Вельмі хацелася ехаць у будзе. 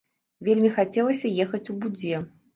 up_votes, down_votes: 0, 2